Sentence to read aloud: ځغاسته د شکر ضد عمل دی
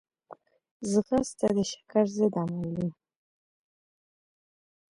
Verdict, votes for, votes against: accepted, 2, 0